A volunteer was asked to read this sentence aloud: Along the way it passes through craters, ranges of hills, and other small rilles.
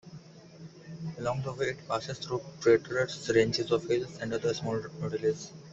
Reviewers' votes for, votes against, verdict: 1, 2, rejected